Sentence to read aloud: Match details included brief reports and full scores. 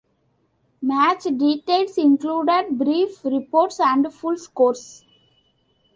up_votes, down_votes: 2, 0